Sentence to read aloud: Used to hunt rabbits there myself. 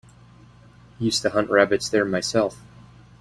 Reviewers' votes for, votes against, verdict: 2, 0, accepted